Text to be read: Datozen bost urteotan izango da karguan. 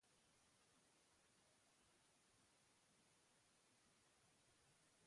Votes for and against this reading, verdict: 0, 4, rejected